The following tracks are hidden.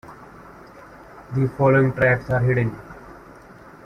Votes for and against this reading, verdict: 2, 0, accepted